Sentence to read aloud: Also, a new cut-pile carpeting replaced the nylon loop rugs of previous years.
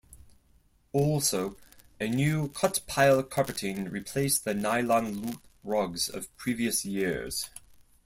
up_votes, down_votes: 4, 0